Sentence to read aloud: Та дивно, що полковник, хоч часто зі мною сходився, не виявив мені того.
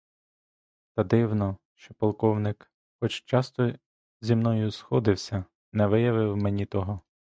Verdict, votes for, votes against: rejected, 1, 2